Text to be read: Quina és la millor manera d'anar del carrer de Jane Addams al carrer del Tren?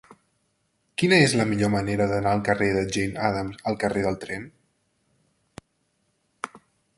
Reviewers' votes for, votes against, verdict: 0, 2, rejected